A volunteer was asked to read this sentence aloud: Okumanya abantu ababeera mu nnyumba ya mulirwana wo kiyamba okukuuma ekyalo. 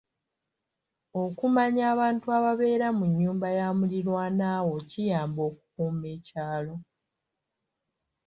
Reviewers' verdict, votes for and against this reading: accepted, 2, 0